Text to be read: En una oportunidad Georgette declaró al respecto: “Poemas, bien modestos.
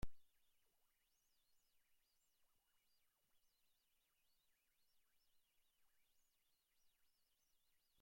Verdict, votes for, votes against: rejected, 0, 2